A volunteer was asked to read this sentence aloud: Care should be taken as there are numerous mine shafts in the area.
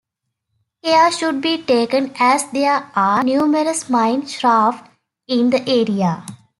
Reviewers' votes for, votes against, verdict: 2, 1, accepted